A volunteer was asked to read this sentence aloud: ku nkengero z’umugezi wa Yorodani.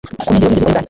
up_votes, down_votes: 1, 2